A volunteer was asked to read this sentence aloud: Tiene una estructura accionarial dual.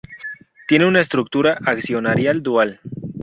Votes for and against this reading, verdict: 0, 2, rejected